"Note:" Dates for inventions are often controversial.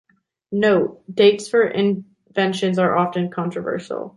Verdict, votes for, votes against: accepted, 2, 0